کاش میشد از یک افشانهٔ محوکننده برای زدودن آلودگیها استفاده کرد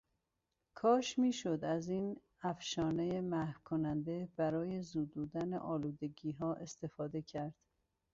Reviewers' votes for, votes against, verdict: 1, 2, rejected